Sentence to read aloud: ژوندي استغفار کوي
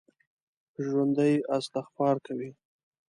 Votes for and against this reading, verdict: 2, 0, accepted